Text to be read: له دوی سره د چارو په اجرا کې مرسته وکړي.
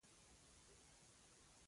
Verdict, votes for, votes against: rejected, 0, 2